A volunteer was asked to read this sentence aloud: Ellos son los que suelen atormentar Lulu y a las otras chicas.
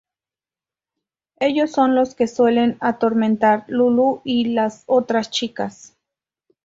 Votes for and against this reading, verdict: 0, 2, rejected